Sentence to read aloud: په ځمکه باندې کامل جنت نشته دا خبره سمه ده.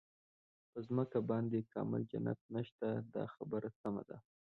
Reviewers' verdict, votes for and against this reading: rejected, 0, 2